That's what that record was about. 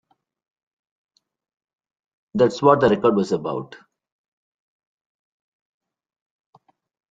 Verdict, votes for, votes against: rejected, 0, 2